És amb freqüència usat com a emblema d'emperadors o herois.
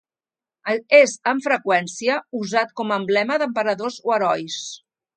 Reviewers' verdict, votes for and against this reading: rejected, 0, 2